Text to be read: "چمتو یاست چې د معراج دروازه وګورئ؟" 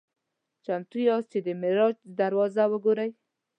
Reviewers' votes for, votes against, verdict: 2, 0, accepted